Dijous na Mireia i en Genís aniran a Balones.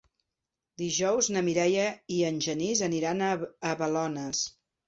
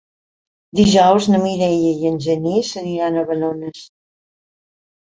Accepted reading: second